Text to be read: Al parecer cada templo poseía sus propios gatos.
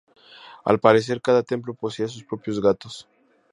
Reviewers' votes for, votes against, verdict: 2, 0, accepted